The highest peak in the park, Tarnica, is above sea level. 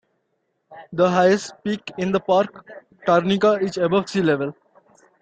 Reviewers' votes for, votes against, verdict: 2, 0, accepted